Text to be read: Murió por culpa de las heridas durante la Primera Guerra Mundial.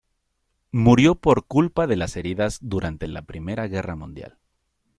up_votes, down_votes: 2, 0